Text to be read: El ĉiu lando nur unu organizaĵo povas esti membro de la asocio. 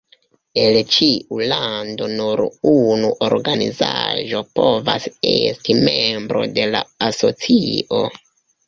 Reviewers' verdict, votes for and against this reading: rejected, 0, 2